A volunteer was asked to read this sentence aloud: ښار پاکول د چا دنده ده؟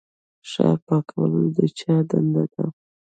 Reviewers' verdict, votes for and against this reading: rejected, 1, 2